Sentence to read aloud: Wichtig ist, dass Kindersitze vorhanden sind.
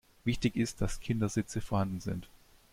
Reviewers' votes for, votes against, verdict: 2, 0, accepted